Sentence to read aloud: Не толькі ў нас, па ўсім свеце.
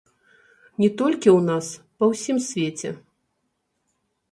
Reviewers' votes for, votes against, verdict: 1, 2, rejected